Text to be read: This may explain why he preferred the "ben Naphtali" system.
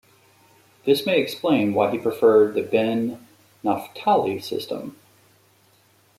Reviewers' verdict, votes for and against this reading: rejected, 1, 2